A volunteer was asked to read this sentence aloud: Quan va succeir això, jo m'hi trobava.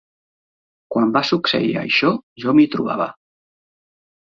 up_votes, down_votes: 2, 0